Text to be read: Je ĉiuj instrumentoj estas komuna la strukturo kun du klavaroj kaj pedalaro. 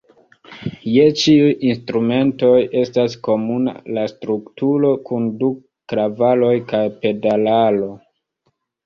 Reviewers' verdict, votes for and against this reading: rejected, 0, 2